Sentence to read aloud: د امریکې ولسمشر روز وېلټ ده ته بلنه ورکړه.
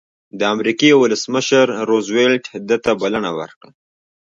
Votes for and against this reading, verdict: 1, 2, rejected